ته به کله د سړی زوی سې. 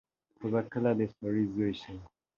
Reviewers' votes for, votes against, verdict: 2, 4, rejected